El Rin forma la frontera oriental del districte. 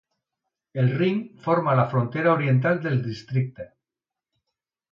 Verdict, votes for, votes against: accepted, 2, 0